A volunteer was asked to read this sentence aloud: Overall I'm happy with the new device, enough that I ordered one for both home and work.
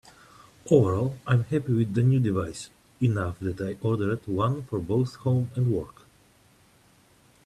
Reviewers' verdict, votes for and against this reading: accepted, 2, 0